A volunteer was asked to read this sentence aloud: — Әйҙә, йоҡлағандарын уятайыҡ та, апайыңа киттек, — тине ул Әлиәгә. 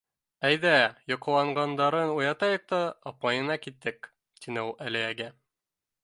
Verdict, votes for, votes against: rejected, 1, 2